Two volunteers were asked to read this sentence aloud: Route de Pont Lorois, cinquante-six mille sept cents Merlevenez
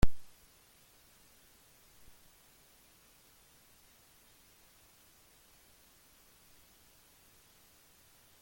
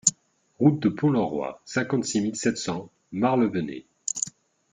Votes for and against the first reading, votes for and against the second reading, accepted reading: 0, 2, 2, 1, second